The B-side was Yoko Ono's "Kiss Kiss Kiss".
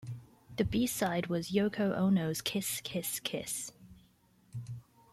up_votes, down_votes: 2, 0